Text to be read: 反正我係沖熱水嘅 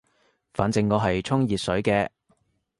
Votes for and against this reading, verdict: 2, 0, accepted